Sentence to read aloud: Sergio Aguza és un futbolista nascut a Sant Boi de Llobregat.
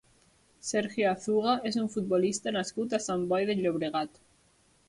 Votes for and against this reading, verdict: 1, 2, rejected